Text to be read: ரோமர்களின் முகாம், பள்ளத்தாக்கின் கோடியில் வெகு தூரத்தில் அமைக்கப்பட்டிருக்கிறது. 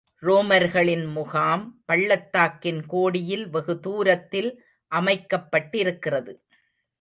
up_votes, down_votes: 2, 0